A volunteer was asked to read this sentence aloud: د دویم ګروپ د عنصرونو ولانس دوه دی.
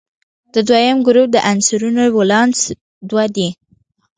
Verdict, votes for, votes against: rejected, 1, 2